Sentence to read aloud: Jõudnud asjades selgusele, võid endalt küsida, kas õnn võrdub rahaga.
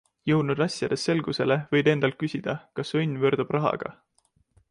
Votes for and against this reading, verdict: 2, 0, accepted